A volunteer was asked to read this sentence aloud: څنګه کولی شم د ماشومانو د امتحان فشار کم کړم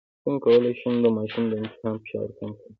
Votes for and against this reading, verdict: 1, 2, rejected